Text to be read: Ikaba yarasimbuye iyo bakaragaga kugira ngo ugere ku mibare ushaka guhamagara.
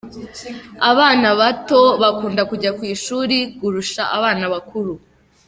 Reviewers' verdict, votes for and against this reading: rejected, 0, 2